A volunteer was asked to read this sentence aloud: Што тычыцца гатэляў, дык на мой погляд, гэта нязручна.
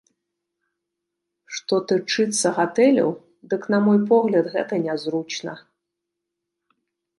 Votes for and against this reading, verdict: 0, 2, rejected